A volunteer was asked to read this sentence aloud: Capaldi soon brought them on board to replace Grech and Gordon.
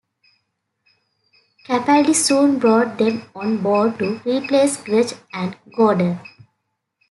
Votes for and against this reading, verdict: 2, 1, accepted